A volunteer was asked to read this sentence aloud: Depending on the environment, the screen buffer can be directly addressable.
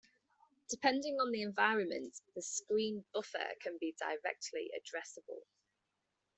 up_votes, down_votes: 1, 2